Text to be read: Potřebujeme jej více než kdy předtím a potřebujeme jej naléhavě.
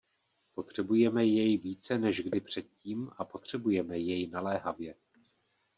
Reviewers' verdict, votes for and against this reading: accepted, 2, 0